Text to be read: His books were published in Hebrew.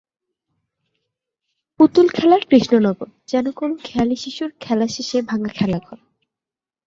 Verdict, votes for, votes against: rejected, 0, 2